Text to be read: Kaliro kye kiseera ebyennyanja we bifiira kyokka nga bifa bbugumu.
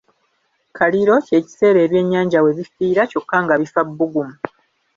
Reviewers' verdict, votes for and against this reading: accepted, 2, 0